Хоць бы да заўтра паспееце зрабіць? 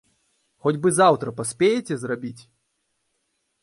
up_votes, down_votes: 1, 2